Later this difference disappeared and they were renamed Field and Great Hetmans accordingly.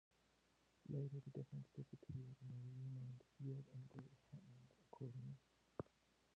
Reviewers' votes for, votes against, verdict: 0, 2, rejected